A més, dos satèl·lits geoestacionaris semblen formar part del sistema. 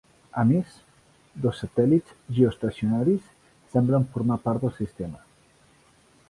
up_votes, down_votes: 2, 0